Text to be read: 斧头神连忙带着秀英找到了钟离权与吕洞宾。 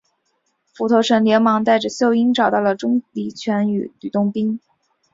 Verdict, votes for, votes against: accepted, 5, 0